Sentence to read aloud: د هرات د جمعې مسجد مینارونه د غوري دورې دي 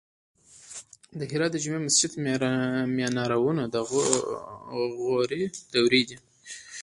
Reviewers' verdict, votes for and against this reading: rejected, 1, 2